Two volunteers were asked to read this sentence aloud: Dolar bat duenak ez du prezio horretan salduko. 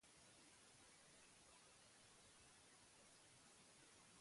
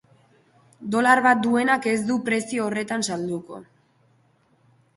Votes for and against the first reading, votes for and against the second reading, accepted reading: 0, 4, 2, 1, second